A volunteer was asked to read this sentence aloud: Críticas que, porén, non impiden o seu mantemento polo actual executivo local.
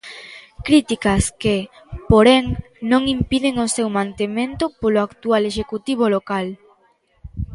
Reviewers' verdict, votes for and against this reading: accepted, 2, 0